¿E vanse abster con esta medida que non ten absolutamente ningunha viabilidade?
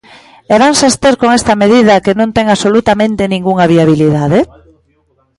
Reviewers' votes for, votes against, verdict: 2, 0, accepted